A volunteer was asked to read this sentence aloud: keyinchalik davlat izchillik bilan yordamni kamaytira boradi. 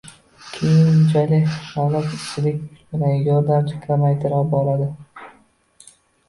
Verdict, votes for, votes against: rejected, 0, 2